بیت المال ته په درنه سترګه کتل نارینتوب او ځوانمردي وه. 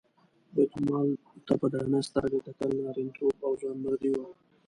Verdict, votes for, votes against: rejected, 0, 2